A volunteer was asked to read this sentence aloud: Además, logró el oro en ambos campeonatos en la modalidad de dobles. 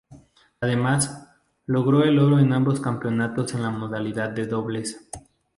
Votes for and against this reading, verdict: 0, 2, rejected